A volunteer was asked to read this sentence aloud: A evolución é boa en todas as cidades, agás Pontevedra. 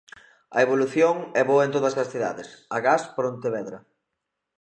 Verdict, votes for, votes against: rejected, 0, 2